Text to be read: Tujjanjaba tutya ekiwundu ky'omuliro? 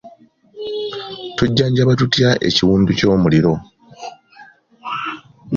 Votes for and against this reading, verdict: 2, 1, accepted